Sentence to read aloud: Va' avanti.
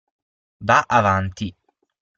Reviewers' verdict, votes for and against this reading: accepted, 6, 0